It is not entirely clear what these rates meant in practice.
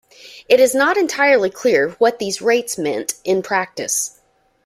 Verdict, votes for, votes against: accepted, 2, 0